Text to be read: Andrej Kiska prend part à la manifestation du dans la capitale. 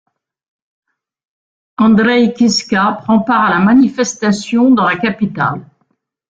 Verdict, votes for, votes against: rejected, 1, 2